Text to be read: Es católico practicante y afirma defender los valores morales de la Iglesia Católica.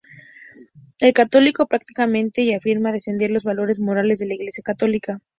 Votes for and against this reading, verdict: 2, 0, accepted